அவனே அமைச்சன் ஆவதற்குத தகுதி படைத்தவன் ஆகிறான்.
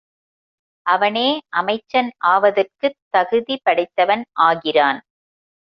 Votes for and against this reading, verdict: 2, 0, accepted